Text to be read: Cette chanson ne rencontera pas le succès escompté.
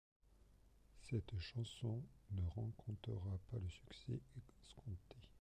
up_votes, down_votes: 1, 2